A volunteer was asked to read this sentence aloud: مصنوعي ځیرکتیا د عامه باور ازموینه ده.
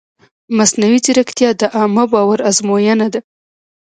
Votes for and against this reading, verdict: 0, 2, rejected